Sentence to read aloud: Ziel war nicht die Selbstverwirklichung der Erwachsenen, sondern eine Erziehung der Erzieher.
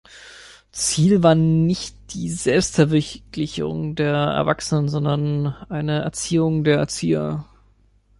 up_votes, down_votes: 0, 2